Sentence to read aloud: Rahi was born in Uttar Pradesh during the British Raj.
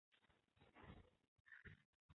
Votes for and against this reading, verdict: 0, 2, rejected